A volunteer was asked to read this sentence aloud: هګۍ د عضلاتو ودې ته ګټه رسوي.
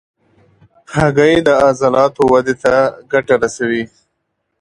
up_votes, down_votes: 2, 0